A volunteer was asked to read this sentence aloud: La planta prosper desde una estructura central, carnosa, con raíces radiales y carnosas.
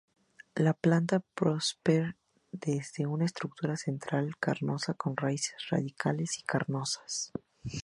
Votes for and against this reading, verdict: 4, 0, accepted